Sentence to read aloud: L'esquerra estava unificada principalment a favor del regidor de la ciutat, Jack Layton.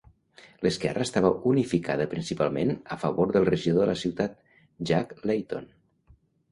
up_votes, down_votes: 2, 0